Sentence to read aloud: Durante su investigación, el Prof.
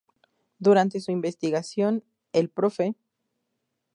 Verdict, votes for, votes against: rejected, 2, 2